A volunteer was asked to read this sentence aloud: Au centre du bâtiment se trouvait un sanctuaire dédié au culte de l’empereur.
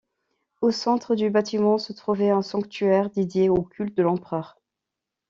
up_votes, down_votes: 2, 0